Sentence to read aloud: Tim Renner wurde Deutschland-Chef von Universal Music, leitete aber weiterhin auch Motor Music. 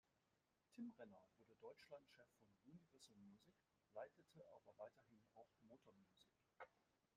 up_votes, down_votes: 0, 2